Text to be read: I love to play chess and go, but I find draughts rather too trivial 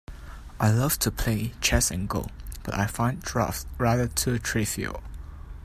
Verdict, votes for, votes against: accepted, 2, 1